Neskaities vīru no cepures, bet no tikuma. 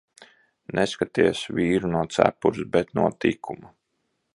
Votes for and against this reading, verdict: 3, 2, accepted